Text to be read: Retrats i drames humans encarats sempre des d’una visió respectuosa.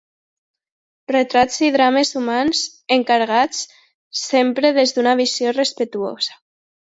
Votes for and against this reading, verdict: 0, 2, rejected